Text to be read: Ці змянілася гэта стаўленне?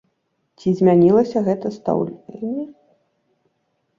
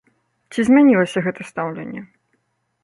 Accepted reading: second